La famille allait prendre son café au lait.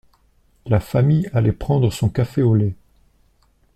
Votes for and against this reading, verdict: 2, 0, accepted